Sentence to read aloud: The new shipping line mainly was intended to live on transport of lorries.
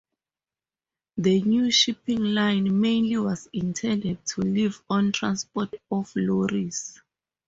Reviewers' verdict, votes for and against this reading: accepted, 2, 0